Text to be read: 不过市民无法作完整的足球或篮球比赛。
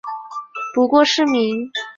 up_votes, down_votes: 0, 5